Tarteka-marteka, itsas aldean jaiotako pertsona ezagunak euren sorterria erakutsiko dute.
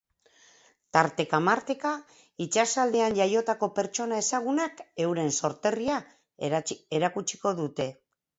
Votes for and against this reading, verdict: 2, 2, rejected